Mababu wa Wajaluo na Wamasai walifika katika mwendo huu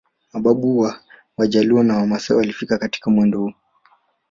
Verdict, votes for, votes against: rejected, 0, 2